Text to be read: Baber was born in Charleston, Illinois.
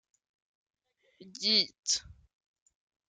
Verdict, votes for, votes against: rejected, 0, 2